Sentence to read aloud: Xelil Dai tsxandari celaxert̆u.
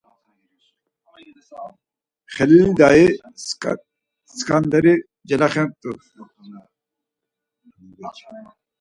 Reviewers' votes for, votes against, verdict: 0, 4, rejected